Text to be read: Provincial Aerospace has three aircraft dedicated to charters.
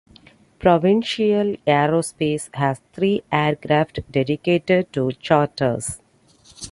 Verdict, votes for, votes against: accepted, 2, 1